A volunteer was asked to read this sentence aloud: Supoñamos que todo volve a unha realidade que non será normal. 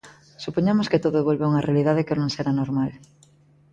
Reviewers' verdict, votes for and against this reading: accepted, 2, 0